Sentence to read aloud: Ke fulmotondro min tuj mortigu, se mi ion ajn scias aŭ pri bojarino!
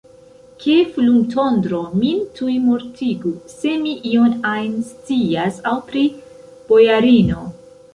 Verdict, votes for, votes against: accepted, 2, 1